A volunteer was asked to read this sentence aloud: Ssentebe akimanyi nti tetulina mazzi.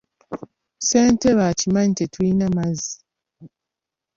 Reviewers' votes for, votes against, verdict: 1, 2, rejected